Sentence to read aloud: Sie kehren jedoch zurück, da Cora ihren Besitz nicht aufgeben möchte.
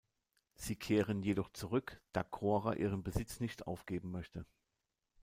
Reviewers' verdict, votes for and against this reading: rejected, 0, 2